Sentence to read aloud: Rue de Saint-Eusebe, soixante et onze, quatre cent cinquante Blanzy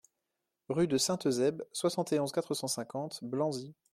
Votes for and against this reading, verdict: 2, 0, accepted